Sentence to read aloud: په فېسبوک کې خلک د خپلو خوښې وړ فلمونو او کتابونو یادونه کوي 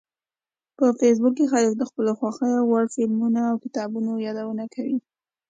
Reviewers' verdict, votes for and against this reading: accepted, 2, 0